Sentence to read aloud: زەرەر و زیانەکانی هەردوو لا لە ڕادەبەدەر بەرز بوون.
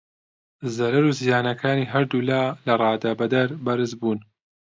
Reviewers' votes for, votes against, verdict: 2, 0, accepted